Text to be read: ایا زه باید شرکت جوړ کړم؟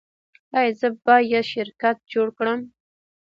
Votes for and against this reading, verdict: 1, 2, rejected